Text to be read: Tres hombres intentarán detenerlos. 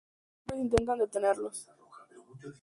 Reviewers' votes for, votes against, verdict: 0, 2, rejected